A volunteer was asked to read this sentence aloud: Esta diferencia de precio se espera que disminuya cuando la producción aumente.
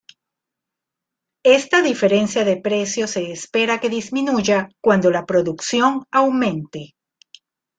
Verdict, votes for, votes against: accepted, 2, 1